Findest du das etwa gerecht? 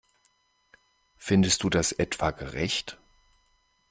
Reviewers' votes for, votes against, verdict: 2, 0, accepted